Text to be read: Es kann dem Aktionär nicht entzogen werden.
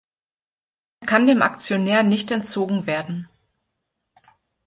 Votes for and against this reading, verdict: 1, 3, rejected